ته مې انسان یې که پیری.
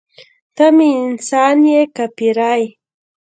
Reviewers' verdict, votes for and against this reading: accepted, 2, 1